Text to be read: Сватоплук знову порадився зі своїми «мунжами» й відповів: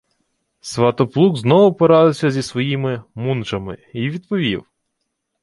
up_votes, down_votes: 2, 0